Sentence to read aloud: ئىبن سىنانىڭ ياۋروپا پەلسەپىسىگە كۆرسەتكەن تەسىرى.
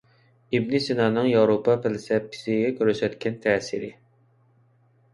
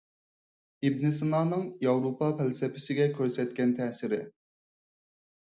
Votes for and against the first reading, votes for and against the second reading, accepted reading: 0, 2, 4, 2, second